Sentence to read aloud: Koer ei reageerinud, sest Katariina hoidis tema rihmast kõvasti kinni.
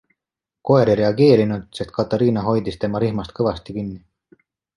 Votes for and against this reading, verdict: 2, 0, accepted